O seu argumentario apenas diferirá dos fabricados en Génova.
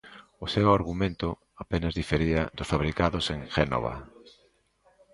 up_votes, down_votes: 0, 2